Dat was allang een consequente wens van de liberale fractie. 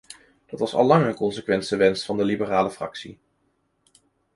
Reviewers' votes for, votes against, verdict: 1, 2, rejected